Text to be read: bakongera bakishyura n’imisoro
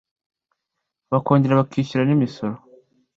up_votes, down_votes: 2, 0